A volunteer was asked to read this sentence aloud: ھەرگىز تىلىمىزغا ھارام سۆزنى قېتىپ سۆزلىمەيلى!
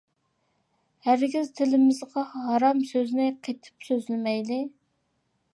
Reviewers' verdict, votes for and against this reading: accepted, 2, 0